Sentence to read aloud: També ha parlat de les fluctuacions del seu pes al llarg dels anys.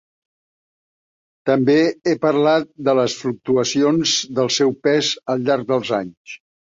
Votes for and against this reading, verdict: 0, 3, rejected